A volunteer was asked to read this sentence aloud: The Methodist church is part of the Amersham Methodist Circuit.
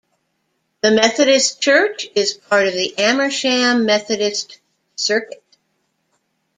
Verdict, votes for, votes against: accepted, 2, 0